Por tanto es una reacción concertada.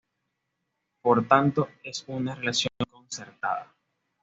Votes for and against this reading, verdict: 2, 0, accepted